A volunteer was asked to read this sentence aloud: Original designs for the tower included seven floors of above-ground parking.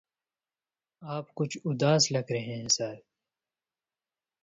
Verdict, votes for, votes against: rejected, 0, 2